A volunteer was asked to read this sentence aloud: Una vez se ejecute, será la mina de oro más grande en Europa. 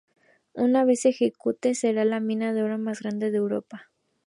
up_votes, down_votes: 4, 0